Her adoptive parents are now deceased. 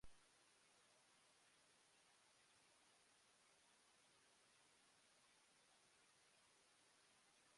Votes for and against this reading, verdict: 0, 2, rejected